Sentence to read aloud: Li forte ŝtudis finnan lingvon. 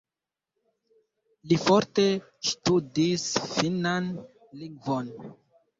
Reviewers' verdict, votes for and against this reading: rejected, 1, 2